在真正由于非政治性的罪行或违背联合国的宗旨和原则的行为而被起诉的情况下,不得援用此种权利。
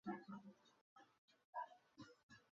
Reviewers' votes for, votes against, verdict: 0, 2, rejected